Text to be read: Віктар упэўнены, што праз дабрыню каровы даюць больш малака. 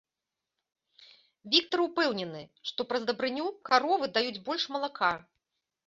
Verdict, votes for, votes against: accepted, 2, 0